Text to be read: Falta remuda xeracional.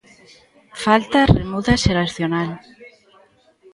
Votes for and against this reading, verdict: 2, 1, accepted